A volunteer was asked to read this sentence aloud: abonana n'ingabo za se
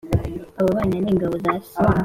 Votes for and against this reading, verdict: 2, 0, accepted